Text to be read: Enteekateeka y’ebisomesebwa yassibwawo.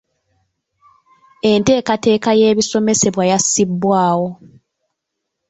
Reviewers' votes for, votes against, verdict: 3, 1, accepted